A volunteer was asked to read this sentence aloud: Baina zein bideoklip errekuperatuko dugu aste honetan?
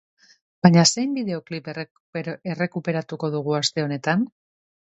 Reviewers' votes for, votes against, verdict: 0, 3, rejected